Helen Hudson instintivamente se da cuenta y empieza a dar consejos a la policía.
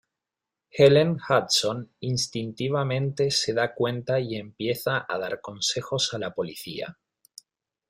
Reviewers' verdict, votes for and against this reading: accepted, 2, 1